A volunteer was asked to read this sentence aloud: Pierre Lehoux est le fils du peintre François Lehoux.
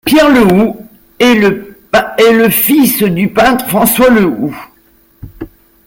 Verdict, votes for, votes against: rejected, 1, 3